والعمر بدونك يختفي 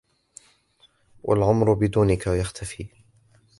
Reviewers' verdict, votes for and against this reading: accepted, 2, 0